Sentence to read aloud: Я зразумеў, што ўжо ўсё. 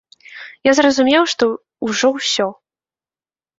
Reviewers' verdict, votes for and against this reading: accepted, 2, 1